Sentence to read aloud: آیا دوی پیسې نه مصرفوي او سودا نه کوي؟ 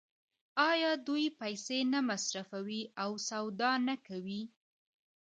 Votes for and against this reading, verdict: 2, 0, accepted